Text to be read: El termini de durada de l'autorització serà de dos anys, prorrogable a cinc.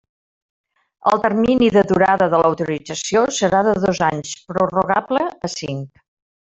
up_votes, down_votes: 1, 2